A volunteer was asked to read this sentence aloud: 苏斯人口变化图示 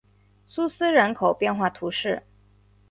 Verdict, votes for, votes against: accepted, 2, 0